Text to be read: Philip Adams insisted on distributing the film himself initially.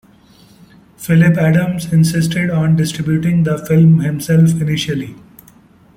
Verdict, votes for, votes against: accepted, 2, 0